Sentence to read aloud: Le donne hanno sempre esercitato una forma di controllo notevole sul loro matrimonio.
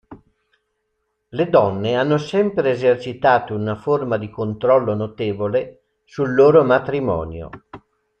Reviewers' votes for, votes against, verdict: 2, 0, accepted